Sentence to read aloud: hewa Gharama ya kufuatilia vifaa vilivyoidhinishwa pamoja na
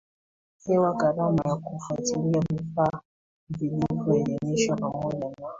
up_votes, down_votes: 2, 1